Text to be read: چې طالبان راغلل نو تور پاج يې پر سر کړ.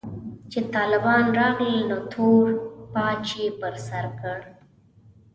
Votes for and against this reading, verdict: 2, 0, accepted